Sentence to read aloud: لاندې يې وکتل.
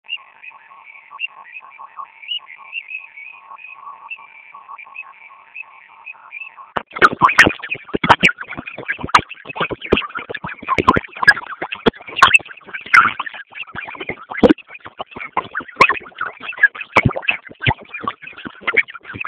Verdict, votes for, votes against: rejected, 0, 2